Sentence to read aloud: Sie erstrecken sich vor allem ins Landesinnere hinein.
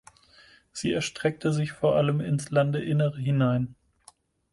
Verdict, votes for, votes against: rejected, 2, 4